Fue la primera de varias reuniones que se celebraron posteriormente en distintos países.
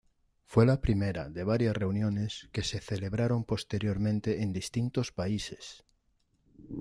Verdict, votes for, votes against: accepted, 2, 0